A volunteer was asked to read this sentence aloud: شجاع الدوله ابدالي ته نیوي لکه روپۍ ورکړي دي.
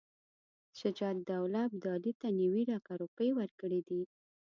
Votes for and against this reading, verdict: 2, 0, accepted